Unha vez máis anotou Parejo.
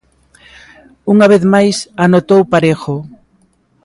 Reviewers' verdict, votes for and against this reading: accepted, 2, 0